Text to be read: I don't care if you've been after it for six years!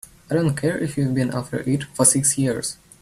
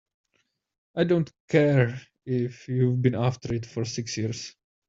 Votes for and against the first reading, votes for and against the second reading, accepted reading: 3, 1, 1, 2, first